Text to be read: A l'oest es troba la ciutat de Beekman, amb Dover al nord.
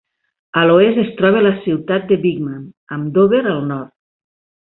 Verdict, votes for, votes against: accepted, 2, 0